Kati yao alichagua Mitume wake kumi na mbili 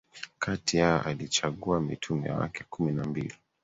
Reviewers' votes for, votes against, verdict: 3, 1, accepted